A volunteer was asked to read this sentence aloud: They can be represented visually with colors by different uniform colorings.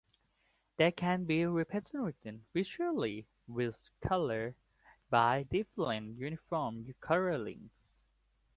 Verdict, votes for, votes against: accepted, 2, 0